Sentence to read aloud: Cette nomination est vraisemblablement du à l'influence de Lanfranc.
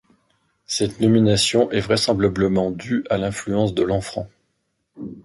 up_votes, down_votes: 1, 2